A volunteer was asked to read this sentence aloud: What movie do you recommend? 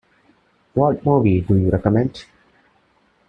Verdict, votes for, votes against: accepted, 2, 0